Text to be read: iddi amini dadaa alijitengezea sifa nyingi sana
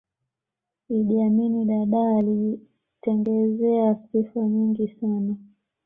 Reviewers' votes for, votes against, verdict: 1, 2, rejected